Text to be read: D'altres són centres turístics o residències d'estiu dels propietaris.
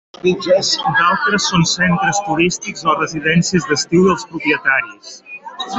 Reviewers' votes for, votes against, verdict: 0, 2, rejected